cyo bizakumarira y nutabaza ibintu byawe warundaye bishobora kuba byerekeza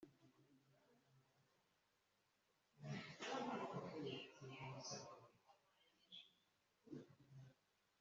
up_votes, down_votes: 0, 2